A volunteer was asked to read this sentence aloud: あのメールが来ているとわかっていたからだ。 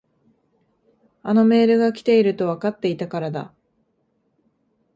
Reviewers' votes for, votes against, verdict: 2, 0, accepted